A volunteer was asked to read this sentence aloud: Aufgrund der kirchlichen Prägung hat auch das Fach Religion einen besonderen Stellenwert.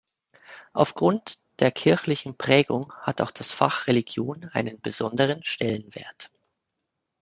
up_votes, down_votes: 2, 0